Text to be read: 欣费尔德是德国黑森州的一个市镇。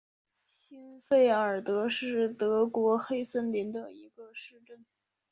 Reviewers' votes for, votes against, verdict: 0, 2, rejected